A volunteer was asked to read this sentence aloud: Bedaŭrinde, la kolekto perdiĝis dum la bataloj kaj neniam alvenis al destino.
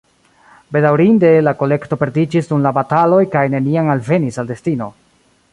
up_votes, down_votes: 2, 1